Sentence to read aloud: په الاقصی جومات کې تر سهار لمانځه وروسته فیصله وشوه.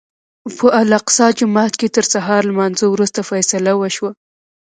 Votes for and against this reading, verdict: 2, 0, accepted